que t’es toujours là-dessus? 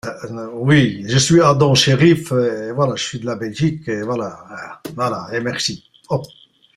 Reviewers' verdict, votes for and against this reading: rejected, 0, 2